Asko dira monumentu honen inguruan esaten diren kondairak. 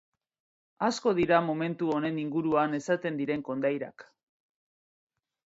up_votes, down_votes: 0, 2